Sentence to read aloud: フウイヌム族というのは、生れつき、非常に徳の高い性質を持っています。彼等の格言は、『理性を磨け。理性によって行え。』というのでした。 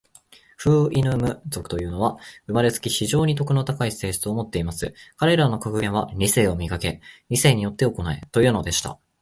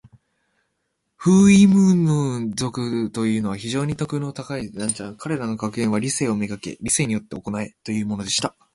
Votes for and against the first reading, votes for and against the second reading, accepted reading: 2, 0, 1, 2, first